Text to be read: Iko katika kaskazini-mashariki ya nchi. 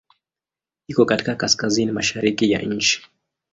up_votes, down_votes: 8, 1